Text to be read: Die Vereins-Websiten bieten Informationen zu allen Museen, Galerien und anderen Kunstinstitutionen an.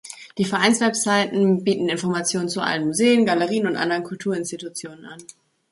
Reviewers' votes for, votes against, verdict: 1, 2, rejected